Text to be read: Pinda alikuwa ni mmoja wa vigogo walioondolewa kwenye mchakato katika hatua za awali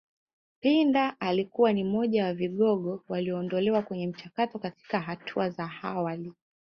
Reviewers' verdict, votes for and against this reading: accepted, 2, 0